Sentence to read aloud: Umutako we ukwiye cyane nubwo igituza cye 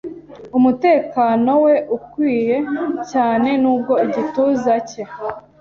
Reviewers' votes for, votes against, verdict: 1, 2, rejected